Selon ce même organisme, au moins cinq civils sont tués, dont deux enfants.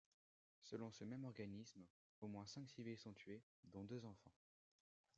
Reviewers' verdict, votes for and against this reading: rejected, 1, 2